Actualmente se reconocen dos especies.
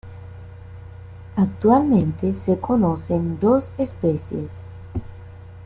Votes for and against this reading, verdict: 1, 2, rejected